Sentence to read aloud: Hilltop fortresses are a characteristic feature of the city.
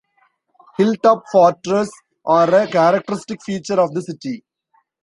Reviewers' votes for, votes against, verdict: 1, 2, rejected